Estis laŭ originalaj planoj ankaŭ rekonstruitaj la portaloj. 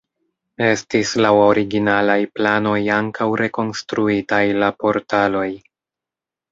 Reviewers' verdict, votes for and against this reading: accepted, 2, 0